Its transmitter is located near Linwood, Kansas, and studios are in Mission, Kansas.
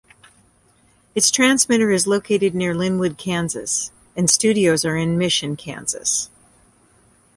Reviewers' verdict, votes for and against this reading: accepted, 2, 0